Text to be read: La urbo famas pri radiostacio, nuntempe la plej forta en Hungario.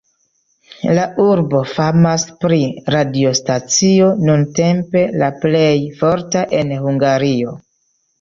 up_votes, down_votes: 2, 0